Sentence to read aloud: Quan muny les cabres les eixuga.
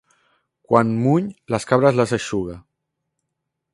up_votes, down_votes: 1, 2